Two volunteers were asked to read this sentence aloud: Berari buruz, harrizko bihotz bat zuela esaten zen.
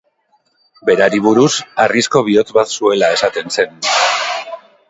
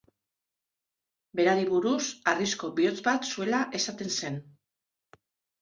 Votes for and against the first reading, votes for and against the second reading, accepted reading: 1, 4, 2, 0, second